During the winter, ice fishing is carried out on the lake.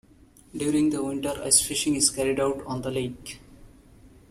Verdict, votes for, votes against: accepted, 2, 0